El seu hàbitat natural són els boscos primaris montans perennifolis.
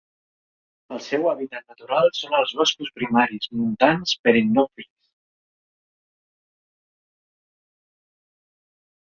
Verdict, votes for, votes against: rejected, 0, 2